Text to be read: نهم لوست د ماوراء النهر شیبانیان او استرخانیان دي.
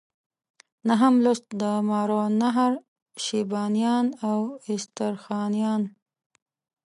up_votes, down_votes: 1, 2